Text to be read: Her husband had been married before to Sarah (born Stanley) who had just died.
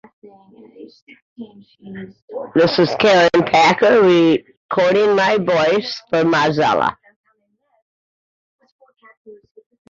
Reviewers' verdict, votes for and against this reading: rejected, 0, 2